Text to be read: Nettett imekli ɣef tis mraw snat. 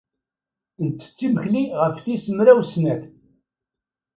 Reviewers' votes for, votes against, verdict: 2, 0, accepted